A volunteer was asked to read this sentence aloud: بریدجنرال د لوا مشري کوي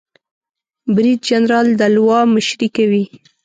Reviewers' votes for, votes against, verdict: 2, 0, accepted